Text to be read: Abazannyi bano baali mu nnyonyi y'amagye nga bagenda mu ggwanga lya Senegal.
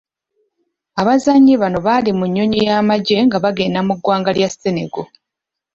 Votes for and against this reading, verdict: 1, 2, rejected